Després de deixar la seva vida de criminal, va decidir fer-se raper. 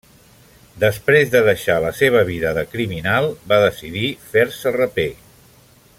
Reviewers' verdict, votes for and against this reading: accepted, 2, 0